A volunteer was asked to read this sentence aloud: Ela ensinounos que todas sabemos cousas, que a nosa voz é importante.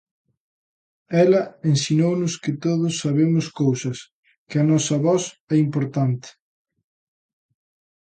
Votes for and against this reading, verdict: 0, 2, rejected